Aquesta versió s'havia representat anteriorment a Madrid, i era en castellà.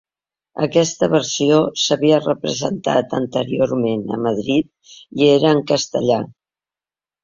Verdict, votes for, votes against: accepted, 2, 0